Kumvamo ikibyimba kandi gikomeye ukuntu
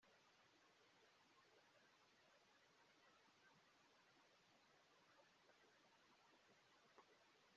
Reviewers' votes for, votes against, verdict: 0, 2, rejected